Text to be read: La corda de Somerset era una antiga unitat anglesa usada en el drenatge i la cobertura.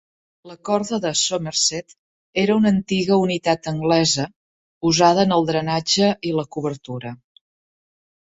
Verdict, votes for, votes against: accepted, 3, 0